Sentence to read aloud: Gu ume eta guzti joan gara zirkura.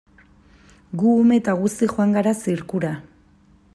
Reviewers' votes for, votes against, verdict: 2, 0, accepted